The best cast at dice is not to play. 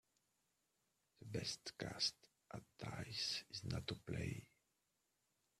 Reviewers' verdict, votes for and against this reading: accepted, 2, 0